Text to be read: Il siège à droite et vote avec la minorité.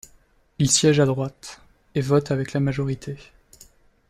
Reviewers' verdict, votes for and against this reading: rejected, 0, 2